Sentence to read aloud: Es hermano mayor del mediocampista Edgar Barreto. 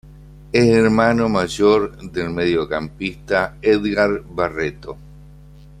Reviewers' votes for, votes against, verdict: 2, 0, accepted